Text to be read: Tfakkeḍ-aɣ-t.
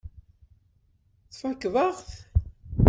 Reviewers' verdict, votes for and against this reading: rejected, 0, 2